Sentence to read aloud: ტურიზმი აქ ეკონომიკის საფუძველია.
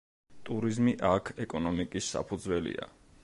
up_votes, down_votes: 2, 0